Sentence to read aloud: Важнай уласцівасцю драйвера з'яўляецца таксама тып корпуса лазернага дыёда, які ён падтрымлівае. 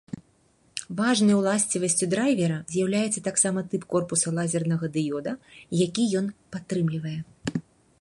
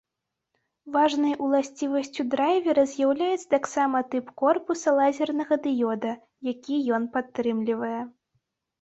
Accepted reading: second